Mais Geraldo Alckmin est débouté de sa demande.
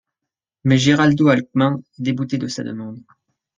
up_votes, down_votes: 1, 2